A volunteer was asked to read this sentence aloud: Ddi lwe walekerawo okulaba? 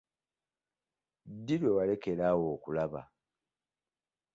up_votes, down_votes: 2, 0